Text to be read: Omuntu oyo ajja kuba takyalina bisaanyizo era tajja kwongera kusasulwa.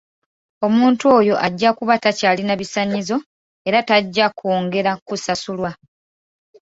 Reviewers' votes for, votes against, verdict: 1, 2, rejected